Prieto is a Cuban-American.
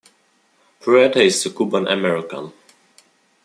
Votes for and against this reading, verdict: 1, 2, rejected